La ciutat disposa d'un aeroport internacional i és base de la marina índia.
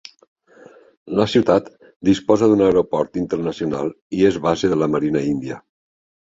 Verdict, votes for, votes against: accepted, 3, 0